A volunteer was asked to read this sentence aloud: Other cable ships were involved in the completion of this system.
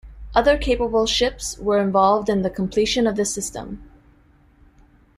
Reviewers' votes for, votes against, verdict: 1, 2, rejected